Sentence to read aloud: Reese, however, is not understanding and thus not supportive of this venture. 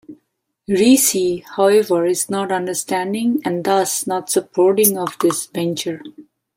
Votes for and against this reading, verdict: 1, 2, rejected